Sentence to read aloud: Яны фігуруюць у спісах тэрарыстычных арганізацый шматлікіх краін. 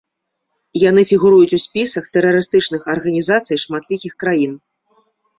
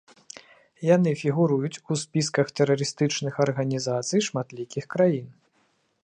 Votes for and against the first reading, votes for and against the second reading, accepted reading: 2, 0, 0, 2, first